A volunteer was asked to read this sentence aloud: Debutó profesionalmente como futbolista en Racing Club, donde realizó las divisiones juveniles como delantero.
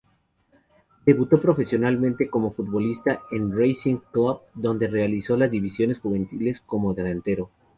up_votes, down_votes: 0, 2